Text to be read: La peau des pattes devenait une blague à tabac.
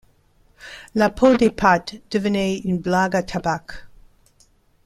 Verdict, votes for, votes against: rejected, 0, 2